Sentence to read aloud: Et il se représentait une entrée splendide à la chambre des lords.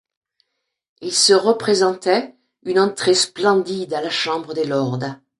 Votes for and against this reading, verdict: 1, 2, rejected